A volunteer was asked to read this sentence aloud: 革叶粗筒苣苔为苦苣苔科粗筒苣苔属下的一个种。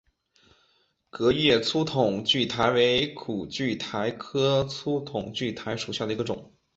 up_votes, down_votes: 2, 0